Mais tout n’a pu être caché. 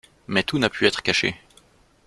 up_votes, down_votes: 2, 0